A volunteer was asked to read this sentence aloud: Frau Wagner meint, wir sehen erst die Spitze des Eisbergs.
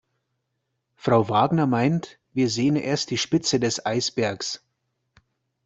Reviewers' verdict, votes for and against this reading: accepted, 2, 0